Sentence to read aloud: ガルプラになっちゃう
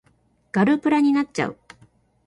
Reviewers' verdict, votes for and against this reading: accepted, 3, 0